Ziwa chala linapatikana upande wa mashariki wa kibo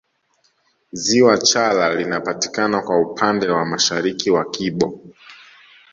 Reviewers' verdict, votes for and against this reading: rejected, 0, 2